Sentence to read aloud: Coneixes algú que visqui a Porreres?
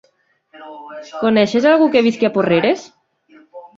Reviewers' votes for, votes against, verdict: 3, 1, accepted